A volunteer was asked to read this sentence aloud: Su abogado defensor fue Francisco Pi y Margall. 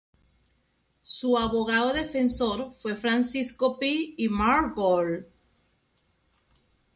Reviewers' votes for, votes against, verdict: 0, 2, rejected